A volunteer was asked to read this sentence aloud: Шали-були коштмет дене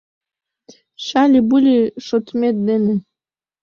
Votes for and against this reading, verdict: 0, 2, rejected